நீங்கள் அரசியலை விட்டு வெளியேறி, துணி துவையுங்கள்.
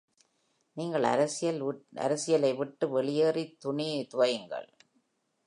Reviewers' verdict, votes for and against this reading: rejected, 1, 2